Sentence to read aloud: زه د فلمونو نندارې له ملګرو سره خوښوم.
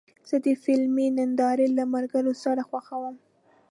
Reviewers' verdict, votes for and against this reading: accepted, 2, 0